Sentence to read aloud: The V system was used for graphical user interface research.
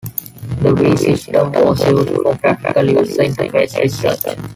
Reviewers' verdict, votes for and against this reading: rejected, 0, 2